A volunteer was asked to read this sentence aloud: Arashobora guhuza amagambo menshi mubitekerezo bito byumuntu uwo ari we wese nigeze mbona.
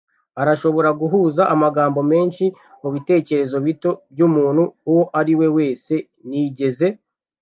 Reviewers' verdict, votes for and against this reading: rejected, 0, 2